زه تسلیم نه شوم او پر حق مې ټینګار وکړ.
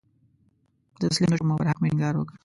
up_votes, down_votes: 0, 2